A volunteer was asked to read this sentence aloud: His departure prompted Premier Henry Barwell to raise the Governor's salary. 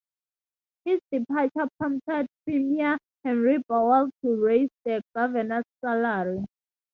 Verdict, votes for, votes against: rejected, 0, 2